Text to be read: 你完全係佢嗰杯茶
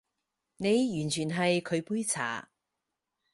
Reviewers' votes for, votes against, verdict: 2, 4, rejected